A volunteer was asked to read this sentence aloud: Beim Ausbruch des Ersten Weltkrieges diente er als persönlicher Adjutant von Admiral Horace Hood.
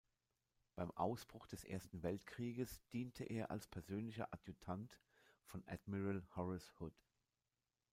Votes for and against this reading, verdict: 2, 1, accepted